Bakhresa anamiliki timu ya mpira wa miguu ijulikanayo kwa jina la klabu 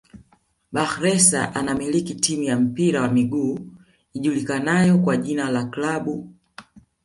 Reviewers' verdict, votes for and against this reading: accepted, 2, 0